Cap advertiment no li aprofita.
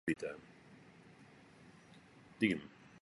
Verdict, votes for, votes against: rejected, 0, 2